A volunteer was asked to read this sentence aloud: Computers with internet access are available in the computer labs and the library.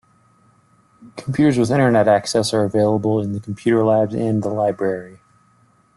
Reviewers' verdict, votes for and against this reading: accepted, 2, 0